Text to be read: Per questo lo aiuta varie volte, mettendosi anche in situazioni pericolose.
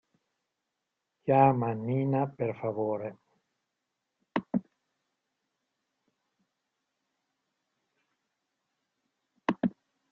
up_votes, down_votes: 0, 2